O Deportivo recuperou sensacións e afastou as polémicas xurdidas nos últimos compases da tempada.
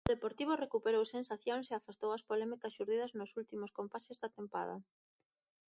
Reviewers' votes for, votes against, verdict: 2, 0, accepted